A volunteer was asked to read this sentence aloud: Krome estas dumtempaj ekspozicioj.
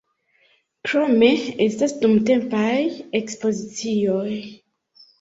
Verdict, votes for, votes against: rejected, 0, 2